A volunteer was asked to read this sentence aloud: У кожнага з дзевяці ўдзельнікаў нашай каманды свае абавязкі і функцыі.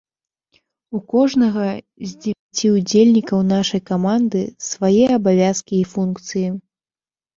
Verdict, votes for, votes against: rejected, 0, 2